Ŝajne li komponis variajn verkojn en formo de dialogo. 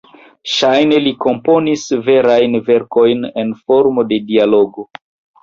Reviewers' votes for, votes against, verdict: 2, 1, accepted